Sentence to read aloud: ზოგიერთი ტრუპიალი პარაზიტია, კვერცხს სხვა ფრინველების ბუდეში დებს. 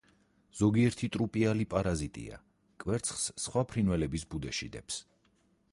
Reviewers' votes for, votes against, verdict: 2, 4, rejected